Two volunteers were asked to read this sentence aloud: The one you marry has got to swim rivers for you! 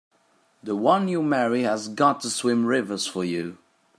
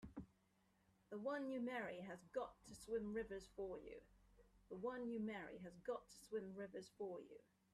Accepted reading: first